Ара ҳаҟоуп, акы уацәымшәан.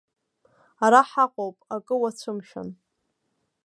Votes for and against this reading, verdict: 2, 0, accepted